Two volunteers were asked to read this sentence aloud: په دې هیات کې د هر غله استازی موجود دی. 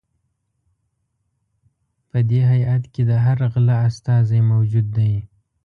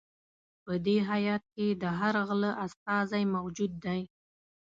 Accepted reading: second